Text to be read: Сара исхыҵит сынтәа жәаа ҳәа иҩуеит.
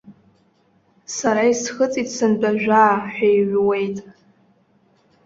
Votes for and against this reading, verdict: 2, 0, accepted